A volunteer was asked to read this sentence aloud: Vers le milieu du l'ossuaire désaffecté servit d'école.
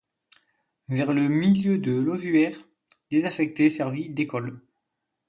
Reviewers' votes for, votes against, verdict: 0, 2, rejected